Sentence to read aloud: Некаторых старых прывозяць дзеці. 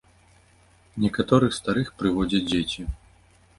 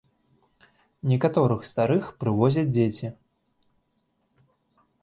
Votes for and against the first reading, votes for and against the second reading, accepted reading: 1, 2, 2, 0, second